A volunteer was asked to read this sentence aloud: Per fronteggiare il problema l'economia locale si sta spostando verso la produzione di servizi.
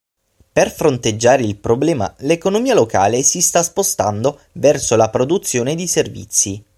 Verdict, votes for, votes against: accepted, 6, 0